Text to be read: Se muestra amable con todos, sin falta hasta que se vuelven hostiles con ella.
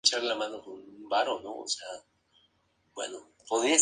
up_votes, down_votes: 0, 2